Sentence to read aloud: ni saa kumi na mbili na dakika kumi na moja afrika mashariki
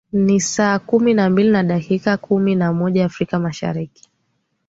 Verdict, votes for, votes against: accepted, 10, 0